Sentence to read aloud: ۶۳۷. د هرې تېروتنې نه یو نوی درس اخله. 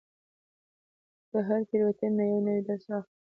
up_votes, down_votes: 0, 2